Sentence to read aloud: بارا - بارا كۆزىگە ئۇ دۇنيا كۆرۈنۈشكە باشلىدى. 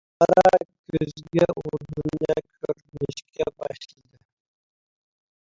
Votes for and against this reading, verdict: 0, 2, rejected